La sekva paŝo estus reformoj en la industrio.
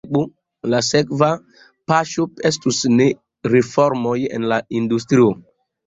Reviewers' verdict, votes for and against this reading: rejected, 0, 2